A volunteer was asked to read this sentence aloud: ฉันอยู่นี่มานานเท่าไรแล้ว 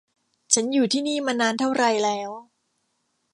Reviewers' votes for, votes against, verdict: 0, 2, rejected